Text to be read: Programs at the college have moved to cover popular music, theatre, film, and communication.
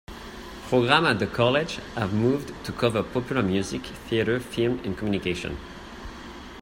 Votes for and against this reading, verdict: 1, 2, rejected